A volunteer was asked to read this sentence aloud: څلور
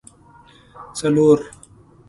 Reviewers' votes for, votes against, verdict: 2, 0, accepted